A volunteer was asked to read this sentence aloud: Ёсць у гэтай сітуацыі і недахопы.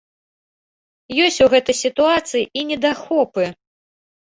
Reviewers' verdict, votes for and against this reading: accepted, 3, 0